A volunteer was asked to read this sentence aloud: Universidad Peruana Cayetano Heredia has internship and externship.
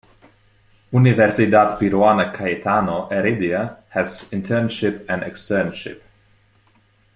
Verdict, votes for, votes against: accepted, 2, 0